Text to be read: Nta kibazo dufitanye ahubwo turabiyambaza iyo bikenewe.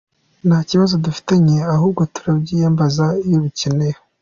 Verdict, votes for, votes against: accepted, 2, 0